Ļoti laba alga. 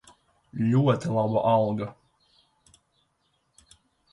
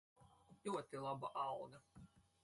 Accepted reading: first